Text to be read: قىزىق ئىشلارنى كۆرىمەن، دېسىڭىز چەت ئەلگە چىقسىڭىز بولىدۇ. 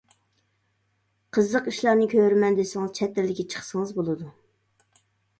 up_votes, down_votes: 1, 2